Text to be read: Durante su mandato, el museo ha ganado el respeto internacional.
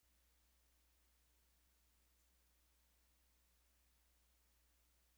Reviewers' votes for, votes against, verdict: 0, 2, rejected